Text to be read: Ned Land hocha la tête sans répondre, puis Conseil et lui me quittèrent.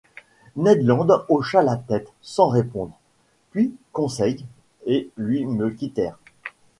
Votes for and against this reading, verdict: 2, 0, accepted